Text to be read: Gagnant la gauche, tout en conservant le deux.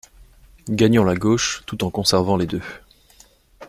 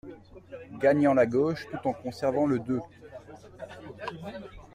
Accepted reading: second